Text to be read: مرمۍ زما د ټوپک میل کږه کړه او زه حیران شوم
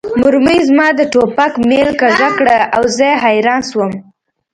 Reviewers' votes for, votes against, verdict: 1, 2, rejected